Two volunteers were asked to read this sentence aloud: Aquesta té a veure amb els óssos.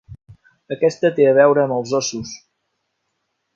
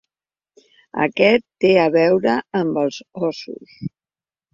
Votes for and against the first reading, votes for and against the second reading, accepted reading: 3, 0, 1, 2, first